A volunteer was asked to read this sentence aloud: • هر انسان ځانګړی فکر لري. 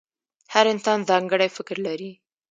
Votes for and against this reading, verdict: 0, 2, rejected